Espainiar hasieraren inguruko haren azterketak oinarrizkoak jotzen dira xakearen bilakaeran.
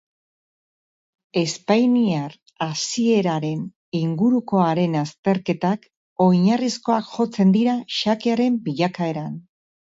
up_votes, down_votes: 0, 2